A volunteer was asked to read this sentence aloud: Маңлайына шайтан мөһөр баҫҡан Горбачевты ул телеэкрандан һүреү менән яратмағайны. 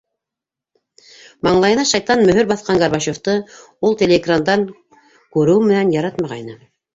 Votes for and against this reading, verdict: 2, 1, accepted